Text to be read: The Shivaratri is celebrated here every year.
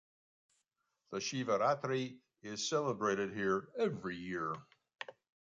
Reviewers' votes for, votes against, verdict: 2, 1, accepted